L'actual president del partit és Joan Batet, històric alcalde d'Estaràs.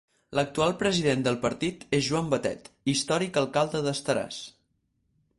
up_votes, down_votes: 4, 0